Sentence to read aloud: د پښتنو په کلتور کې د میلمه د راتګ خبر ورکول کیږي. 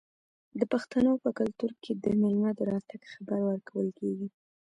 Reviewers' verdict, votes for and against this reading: accepted, 2, 1